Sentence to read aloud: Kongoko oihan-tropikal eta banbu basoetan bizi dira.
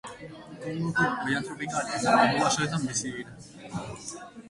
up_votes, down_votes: 0, 3